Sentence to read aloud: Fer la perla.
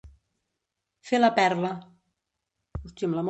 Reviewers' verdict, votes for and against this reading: rejected, 1, 2